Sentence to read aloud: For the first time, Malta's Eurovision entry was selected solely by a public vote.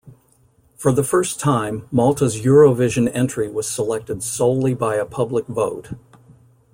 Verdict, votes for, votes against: accepted, 2, 0